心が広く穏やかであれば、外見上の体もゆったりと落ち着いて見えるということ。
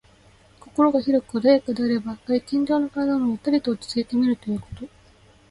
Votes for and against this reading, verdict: 2, 0, accepted